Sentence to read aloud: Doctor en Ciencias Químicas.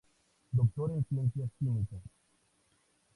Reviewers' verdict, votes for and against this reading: accepted, 2, 0